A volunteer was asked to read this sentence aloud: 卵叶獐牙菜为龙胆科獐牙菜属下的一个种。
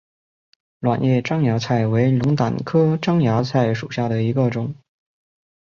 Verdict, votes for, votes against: accepted, 4, 1